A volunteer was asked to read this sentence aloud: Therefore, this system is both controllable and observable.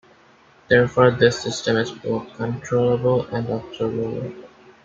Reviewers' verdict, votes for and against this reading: accepted, 2, 0